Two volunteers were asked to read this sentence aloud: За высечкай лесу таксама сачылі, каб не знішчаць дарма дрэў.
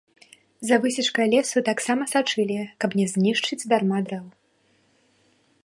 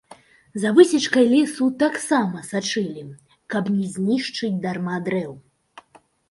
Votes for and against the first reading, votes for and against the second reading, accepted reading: 3, 0, 1, 2, first